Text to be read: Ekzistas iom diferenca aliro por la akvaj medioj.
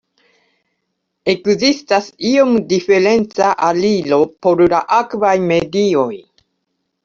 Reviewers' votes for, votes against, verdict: 0, 2, rejected